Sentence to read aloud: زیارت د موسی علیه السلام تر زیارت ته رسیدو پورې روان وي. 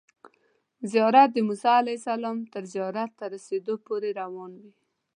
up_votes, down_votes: 2, 0